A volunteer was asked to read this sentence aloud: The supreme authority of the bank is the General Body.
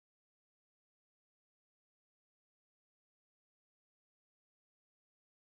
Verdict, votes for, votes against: rejected, 0, 2